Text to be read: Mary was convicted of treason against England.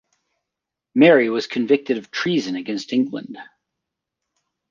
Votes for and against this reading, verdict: 2, 0, accepted